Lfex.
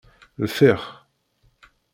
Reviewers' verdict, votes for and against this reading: rejected, 0, 2